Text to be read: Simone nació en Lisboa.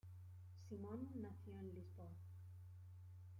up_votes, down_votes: 2, 0